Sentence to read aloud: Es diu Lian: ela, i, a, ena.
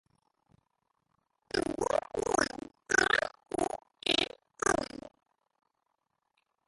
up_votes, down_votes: 1, 2